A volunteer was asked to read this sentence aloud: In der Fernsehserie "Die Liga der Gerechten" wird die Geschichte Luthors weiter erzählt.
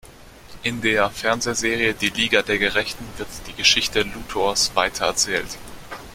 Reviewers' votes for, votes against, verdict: 2, 0, accepted